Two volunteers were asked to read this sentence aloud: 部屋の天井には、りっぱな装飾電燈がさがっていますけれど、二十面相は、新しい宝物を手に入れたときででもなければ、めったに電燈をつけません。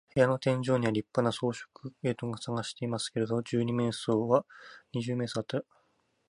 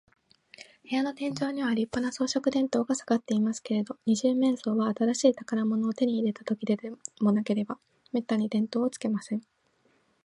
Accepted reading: second